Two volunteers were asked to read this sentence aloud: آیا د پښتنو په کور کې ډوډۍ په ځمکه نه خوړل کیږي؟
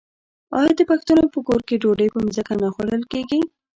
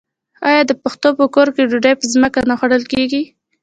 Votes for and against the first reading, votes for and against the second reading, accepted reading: 2, 0, 0, 2, first